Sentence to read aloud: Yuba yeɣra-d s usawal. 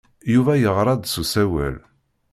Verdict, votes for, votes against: accepted, 2, 0